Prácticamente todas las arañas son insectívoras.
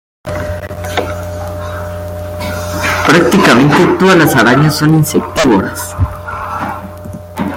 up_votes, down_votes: 0, 2